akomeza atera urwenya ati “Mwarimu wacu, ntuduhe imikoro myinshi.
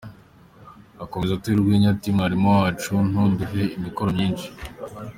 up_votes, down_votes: 2, 0